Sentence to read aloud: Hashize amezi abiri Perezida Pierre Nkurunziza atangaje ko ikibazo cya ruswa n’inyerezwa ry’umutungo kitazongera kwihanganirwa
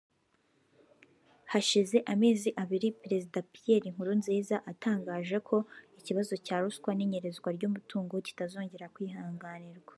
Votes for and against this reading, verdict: 3, 1, accepted